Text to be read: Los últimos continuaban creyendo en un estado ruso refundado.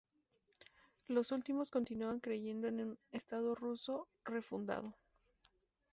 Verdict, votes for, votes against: rejected, 2, 2